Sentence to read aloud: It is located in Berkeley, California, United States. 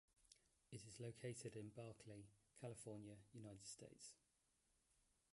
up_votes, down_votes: 1, 2